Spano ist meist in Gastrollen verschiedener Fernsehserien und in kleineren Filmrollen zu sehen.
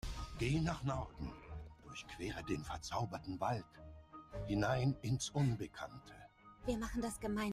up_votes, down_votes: 0, 2